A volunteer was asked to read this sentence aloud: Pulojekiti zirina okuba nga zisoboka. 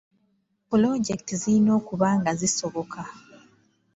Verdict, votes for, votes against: accepted, 2, 0